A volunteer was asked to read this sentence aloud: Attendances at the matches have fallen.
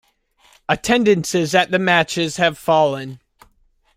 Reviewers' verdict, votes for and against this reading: rejected, 1, 2